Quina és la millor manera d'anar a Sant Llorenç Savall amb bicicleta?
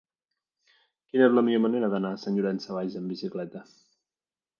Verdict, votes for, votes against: accepted, 2, 0